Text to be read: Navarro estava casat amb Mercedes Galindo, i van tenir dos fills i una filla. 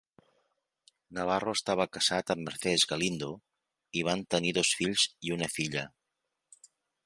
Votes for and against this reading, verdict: 0, 2, rejected